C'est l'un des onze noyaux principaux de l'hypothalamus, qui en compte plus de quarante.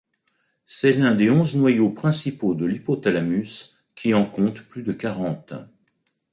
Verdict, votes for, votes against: accepted, 2, 0